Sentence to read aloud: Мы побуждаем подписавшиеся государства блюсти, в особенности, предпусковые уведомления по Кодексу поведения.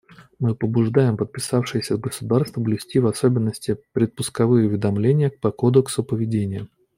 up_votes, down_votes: 2, 0